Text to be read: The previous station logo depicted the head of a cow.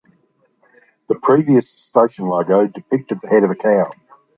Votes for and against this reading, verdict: 2, 0, accepted